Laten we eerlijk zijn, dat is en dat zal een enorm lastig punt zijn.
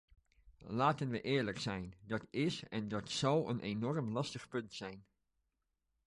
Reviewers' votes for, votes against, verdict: 2, 0, accepted